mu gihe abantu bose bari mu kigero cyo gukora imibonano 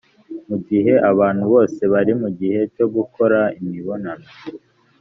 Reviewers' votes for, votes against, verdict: 1, 2, rejected